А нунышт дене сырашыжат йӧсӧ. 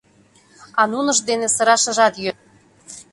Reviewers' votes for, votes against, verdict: 1, 2, rejected